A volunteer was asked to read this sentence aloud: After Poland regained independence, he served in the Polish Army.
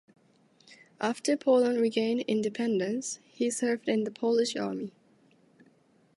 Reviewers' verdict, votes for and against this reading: accepted, 2, 0